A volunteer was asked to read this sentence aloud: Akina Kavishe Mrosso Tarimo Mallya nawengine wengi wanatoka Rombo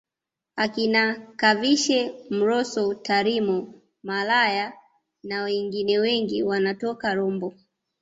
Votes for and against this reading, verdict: 1, 2, rejected